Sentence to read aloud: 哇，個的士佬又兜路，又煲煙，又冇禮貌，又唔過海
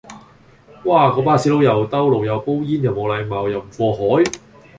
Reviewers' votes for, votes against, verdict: 0, 2, rejected